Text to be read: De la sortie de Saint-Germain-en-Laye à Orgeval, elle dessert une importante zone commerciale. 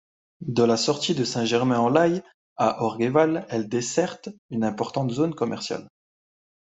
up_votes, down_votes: 1, 2